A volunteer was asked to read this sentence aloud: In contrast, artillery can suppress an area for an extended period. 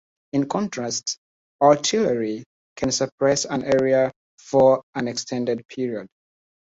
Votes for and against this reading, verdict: 2, 0, accepted